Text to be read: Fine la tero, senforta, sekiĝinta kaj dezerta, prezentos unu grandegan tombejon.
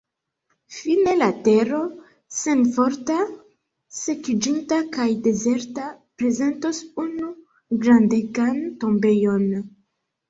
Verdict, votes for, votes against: rejected, 1, 2